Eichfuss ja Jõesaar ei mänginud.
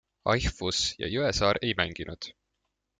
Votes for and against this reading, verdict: 2, 0, accepted